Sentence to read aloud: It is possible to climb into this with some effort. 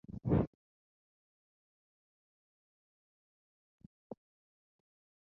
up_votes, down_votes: 0, 2